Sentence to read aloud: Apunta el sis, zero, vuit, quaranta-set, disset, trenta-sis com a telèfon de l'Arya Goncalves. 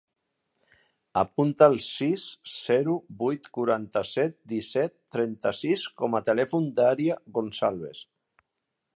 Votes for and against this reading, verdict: 2, 1, accepted